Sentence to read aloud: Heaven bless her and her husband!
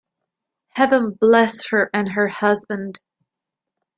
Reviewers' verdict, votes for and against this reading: accepted, 2, 0